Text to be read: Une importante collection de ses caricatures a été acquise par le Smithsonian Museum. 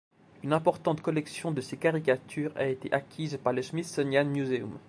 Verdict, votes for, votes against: accepted, 2, 0